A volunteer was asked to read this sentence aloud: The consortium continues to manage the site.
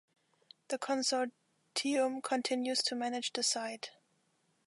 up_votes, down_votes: 1, 2